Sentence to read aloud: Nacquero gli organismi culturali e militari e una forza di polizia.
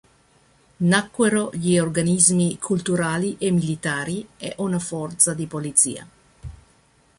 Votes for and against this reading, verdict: 2, 0, accepted